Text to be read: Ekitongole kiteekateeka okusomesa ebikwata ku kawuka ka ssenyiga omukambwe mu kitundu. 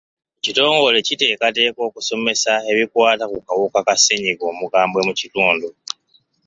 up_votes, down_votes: 1, 2